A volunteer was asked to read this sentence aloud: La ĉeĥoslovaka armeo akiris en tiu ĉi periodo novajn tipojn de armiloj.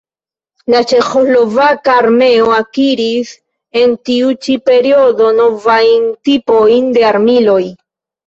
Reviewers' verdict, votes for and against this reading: rejected, 0, 2